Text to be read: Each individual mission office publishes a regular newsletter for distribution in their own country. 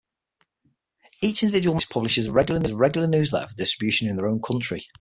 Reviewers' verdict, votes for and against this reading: rejected, 0, 6